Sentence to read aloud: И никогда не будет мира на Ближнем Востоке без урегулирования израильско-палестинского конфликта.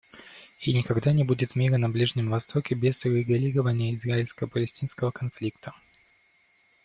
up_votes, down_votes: 2, 1